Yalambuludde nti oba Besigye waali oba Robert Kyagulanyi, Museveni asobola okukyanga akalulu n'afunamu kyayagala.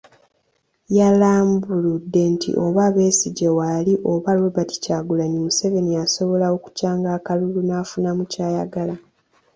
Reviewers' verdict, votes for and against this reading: accepted, 2, 1